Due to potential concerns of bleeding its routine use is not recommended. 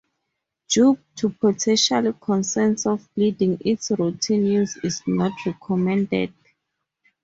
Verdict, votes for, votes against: rejected, 2, 2